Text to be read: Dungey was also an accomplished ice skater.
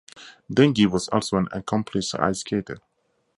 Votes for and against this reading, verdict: 2, 0, accepted